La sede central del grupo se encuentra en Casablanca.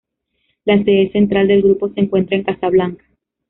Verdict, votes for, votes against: accepted, 2, 0